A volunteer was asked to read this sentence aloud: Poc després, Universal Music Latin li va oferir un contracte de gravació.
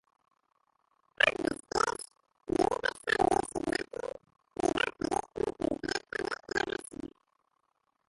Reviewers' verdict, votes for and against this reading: rejected, 0, 2